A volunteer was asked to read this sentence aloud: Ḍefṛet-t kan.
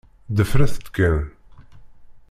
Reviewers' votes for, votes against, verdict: 1, 2, rejected